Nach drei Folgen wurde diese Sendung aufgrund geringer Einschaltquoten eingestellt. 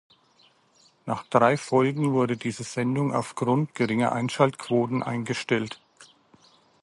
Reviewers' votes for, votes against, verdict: 2, 0, accepted